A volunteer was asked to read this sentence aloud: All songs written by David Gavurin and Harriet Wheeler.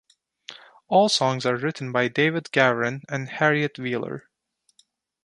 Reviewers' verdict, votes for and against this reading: rejected, 1, 2